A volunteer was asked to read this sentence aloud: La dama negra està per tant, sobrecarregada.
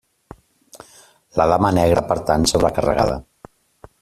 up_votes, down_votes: 0, 2